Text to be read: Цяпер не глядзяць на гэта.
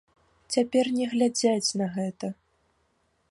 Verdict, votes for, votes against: accepted, 2, 0